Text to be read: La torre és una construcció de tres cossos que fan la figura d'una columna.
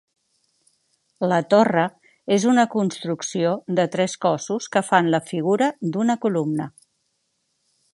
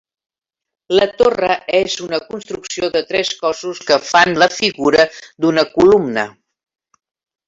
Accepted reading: first